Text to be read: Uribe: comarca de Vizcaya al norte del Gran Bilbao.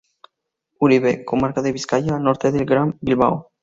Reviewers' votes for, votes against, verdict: 2, 0, accepted